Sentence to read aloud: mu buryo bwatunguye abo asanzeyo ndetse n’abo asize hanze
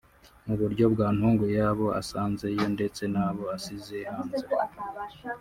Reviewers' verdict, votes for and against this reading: rejected, 1, 2